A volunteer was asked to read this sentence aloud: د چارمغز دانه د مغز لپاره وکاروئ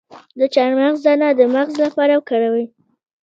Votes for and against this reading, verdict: 0, 2, rejected